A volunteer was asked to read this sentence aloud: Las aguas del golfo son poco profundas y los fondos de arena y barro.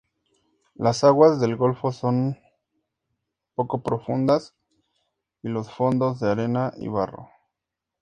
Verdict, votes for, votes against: accepted, 2, 0